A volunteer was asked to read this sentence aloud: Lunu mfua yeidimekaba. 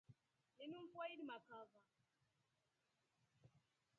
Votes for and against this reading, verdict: 0, 2, rejected